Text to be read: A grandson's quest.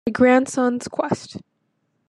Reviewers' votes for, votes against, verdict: 2, 1, accepted